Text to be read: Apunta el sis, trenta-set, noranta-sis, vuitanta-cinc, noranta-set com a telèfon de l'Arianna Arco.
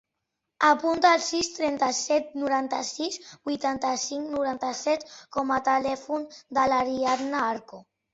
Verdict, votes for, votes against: accepted, 2, 0